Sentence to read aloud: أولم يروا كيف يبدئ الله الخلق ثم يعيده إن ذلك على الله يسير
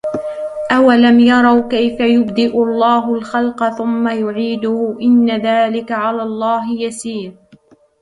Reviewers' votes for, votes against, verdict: 1, 2, rejected